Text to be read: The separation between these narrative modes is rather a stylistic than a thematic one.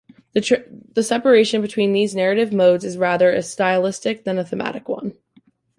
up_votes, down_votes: 1, 3